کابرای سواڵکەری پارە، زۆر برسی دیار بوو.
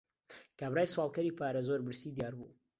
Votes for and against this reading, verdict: 2, 0, accepted